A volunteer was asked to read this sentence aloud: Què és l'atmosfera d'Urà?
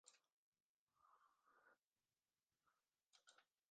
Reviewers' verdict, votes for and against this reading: rejected, 0, 2